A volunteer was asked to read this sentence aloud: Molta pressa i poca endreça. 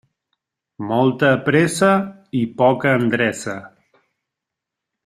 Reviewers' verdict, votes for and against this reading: accepted, 3, 0